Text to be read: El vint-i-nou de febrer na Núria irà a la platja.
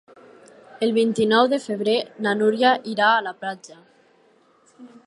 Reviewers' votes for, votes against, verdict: 4, 0, accepted